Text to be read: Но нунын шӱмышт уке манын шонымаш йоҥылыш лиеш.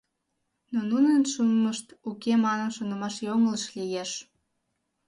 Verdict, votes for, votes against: accepted, 2, 1